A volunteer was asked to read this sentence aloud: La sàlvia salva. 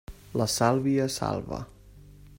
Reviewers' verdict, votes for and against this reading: accepted, 3, 0